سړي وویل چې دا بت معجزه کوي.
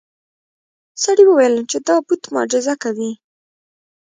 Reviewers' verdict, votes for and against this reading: rejected, 0, 2